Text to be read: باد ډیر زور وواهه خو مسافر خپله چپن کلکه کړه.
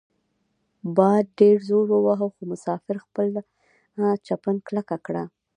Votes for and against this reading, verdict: 1, 2, rejected